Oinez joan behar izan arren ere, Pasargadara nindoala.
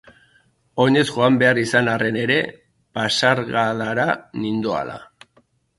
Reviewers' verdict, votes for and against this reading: accepted, 2, 0